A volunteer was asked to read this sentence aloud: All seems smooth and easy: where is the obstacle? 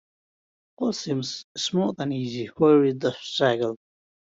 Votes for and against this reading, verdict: 1, 2, rejected